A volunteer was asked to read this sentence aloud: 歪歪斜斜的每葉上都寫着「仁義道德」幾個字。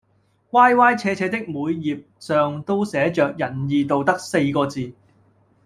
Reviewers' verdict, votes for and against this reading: rejected, 1, 2